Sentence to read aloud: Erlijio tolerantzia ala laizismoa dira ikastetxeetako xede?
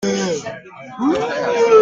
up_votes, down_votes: 0, 2